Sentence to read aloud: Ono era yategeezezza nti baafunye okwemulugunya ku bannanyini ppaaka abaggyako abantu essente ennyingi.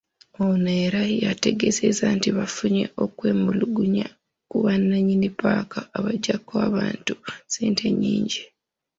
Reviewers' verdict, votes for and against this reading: accepted, 2, 1